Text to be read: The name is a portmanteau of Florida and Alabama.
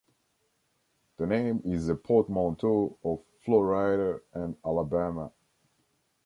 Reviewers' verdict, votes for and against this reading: rejected, 1, 2